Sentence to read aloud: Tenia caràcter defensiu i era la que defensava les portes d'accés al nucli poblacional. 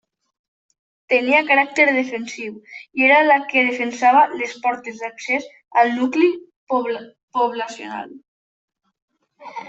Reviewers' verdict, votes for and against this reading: rejected, 0, 2